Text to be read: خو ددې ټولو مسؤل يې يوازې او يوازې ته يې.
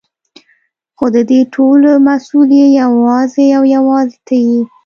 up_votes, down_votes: 1, 2